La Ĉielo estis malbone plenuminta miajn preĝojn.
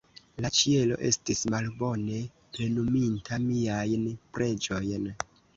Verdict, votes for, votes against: accepted, 2, 0